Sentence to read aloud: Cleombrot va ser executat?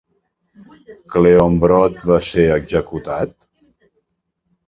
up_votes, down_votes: 2, 0